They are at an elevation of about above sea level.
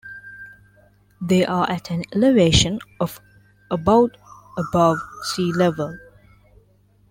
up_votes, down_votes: 1, 2